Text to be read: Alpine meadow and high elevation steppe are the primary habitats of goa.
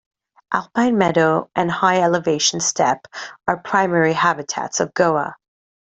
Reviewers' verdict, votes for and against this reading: accepted, 2, 1